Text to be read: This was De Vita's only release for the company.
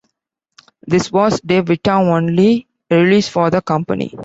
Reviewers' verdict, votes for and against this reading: rejected, 0, 2